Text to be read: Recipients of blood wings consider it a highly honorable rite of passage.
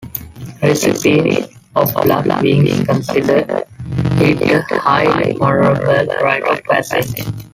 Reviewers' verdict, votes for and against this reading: rejected, 0, 2